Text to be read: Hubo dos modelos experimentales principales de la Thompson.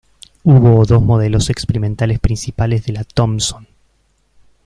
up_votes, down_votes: 1, 2